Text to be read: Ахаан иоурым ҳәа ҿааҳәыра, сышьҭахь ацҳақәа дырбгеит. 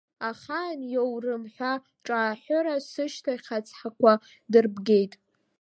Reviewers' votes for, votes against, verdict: 1, 2, rejected